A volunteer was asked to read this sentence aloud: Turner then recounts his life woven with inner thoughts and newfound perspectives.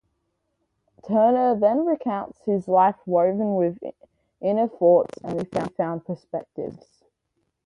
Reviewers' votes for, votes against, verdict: 2, 0, accepted